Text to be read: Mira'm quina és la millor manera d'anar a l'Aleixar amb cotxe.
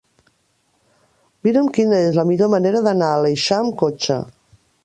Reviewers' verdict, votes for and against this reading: rejected, 0, 2